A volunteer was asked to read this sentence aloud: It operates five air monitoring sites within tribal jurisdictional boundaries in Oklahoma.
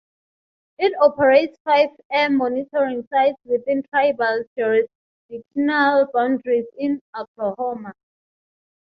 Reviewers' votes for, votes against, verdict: 0, 3, rejected